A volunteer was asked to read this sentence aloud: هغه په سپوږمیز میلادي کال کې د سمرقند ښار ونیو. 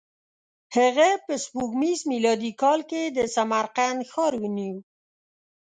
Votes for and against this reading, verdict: 1, 2, rejected